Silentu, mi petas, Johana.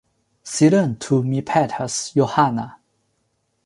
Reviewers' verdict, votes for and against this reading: accepted, 2, 0